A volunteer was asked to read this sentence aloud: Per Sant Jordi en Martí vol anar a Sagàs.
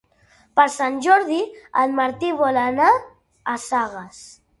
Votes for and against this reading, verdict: 3, 1, accepted